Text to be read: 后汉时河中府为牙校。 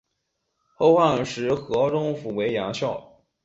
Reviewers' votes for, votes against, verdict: 5, 0, accepted